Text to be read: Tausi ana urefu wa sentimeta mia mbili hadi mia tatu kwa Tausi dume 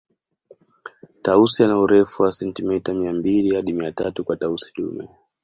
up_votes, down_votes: 2, 0